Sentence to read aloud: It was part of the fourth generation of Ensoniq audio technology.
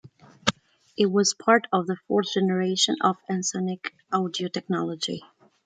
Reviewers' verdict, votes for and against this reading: accepted, 2, 0